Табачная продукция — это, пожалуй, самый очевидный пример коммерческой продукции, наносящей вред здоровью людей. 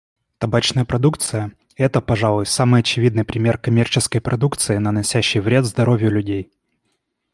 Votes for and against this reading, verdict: 2, 0, accepted